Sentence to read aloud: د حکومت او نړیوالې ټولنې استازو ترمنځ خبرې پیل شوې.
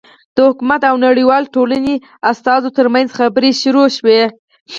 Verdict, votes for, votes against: rejected, 2, 4